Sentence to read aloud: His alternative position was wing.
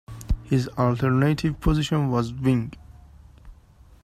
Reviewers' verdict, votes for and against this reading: accepted, 2, 0